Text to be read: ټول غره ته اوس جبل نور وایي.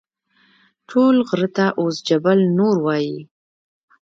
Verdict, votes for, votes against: rejected, 1, 2